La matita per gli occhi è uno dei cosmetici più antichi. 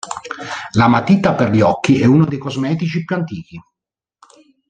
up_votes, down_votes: 1, 2